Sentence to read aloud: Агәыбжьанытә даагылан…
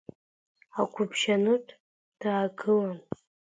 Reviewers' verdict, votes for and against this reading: accepted, 2, 0